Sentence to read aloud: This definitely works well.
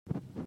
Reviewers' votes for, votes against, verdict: 0, 2, rejected